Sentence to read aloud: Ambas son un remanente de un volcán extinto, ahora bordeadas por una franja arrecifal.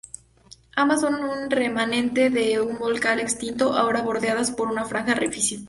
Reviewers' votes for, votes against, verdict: 2, 2, rejected